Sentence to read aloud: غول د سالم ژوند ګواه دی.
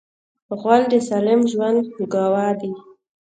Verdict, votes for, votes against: accepted, 2, 0